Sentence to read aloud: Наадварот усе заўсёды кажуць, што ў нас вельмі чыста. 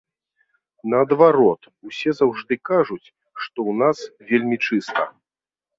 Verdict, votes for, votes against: rejected, 0, 2